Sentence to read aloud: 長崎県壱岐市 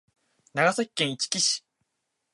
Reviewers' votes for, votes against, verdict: 0, 2, rejected